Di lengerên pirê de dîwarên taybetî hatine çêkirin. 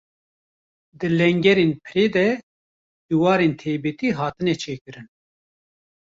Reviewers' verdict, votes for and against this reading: rejected, 1, 2